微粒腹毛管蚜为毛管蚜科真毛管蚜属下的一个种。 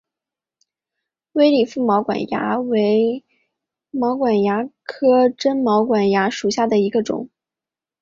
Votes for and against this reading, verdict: 2, 0, accepted